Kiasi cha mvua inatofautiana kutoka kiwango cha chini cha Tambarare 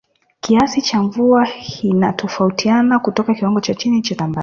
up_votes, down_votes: 0, 2